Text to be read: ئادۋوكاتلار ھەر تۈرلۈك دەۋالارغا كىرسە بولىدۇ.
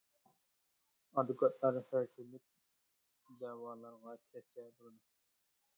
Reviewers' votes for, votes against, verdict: 0, 2, rejected